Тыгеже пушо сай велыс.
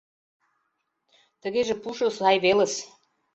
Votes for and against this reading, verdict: 2, 0, accepted